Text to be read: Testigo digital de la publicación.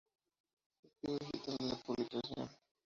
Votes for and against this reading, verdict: 0, 2, rejected